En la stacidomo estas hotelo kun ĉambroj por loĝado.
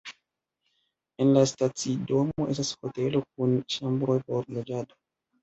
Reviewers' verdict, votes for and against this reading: rejected, 1, 2